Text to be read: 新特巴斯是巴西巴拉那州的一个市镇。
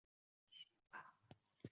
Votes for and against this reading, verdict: 1, 4, rejected